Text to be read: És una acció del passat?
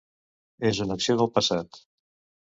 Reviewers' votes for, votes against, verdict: 0, 2, rejected